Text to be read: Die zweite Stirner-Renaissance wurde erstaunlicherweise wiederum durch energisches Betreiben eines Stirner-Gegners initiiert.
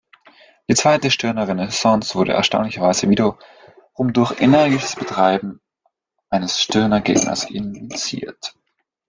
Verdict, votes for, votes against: rejected, 0, 2